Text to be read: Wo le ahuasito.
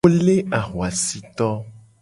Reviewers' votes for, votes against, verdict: 0, 2, rejected